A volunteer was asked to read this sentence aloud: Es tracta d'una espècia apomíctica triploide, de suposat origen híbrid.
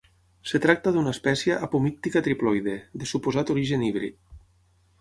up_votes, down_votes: 0, 6